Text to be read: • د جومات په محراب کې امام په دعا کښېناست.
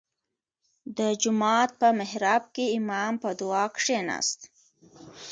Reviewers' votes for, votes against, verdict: 2, 1, accepted